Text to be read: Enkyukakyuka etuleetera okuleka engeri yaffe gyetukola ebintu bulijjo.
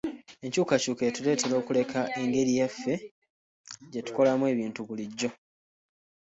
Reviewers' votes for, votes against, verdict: 1, 2, rejected